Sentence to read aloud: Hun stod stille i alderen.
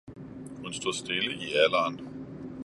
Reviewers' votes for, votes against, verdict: 2, 0, accepted